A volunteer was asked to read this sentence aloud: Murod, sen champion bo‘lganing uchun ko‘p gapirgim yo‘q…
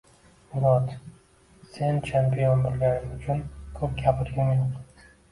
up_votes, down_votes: 1, 2